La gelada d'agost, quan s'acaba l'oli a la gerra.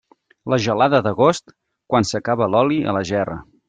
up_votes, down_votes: 3, 0